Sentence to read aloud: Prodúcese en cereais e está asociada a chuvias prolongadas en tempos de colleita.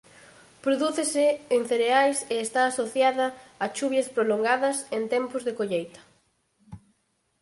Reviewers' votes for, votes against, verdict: 4, 2, accepted